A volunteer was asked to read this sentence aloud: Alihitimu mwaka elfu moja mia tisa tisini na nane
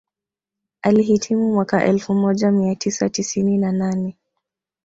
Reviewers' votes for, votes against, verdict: 1, 2, rejected